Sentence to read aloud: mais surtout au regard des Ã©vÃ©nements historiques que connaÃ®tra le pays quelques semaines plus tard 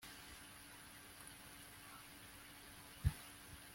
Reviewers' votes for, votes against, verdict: 0, 2, rejected